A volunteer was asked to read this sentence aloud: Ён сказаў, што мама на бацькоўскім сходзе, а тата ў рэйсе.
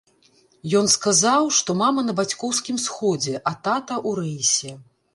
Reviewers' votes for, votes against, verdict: 1, 2, rejected